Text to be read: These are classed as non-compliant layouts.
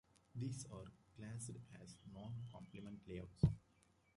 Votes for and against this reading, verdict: 0, 2, rejected